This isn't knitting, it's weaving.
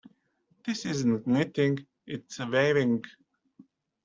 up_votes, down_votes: 2, 1